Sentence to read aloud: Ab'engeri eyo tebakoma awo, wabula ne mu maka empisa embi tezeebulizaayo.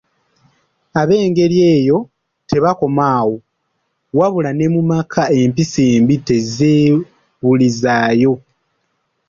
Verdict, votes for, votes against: rejected, 0, 2